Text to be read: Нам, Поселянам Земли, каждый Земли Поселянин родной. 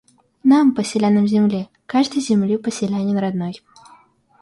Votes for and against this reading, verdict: 2, 0, accepted